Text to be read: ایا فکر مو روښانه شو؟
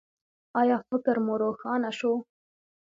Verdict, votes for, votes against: accepted, 2, 0